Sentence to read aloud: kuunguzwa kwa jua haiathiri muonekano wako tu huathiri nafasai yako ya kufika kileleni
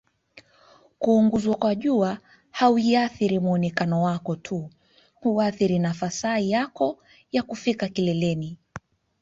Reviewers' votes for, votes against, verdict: 2, 0, accepted